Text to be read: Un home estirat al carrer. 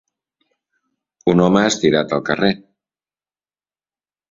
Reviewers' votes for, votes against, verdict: 5, 0, accepted